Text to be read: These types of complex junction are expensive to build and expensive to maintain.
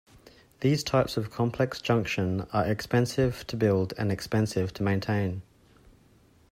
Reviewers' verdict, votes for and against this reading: accepted, 2, 0